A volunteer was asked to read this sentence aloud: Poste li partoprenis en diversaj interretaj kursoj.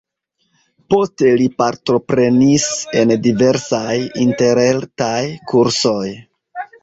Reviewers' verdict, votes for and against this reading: accepted, 2, 0